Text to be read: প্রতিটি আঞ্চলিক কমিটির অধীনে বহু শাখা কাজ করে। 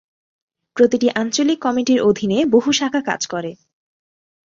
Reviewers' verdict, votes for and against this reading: accepted, 2, 0